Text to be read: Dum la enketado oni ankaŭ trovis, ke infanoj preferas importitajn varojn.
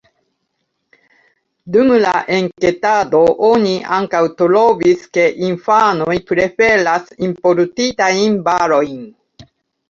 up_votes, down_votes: 1, 2